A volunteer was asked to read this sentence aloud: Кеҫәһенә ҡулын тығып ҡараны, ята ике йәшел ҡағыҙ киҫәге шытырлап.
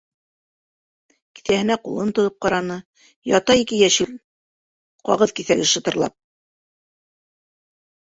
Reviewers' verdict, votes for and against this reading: accepted, 2, 1